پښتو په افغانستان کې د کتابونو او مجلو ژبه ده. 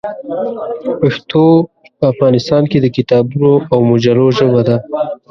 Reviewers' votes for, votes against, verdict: 0, 2, rejected